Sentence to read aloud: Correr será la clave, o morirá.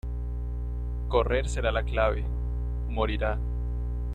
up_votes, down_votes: 2, 1